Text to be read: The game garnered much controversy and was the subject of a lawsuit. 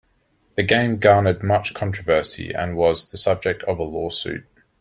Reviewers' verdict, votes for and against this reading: accepted, 2, 0